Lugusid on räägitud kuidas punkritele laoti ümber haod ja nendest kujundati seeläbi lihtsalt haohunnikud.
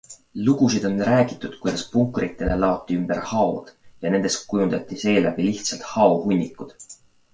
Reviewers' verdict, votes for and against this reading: accepted, 2, 0